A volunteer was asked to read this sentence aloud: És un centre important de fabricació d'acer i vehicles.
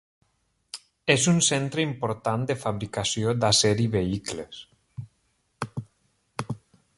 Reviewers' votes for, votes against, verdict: 3, 0, accepted